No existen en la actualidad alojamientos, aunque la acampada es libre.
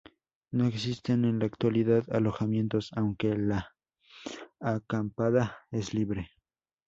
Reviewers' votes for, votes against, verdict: 0, 2, rejected